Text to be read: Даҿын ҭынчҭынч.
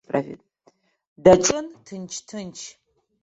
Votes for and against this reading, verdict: 1, 2, rejected